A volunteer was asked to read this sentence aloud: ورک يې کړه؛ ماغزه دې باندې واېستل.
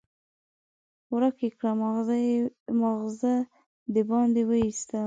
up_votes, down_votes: 1, 2